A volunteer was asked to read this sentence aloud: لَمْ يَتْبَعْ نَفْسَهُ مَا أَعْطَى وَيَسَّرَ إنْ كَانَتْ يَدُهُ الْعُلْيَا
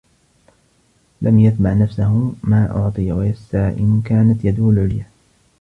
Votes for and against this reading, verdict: 1, 2, rejected